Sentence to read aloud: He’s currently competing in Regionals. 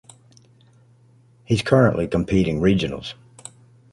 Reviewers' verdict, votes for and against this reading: rejected, 0, 2